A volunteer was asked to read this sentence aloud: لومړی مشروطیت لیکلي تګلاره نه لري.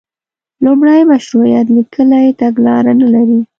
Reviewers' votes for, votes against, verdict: 0, 2, rejected